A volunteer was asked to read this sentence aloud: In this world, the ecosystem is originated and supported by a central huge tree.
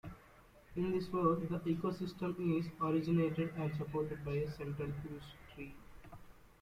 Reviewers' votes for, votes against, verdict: 2, 0, accepted